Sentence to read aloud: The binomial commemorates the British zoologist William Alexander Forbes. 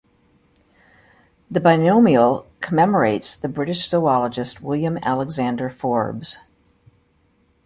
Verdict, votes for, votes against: accepted, 2, 0